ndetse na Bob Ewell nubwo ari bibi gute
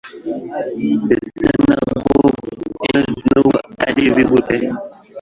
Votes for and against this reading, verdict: 1, 2, rejected